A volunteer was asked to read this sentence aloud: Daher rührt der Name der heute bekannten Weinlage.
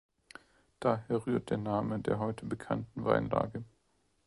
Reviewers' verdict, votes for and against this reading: accepted, 2, 0